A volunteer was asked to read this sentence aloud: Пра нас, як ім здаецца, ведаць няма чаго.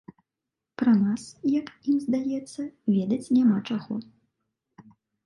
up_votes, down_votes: 2, 0